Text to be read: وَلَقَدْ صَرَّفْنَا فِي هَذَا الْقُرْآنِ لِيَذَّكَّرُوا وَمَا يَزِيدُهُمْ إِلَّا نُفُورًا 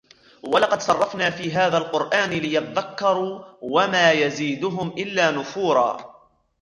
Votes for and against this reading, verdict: 0, 2, rejected